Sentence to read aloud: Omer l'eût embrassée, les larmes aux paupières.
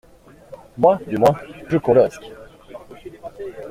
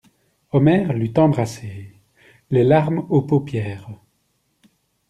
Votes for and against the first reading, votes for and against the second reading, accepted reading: 0, 2, 2, 0, second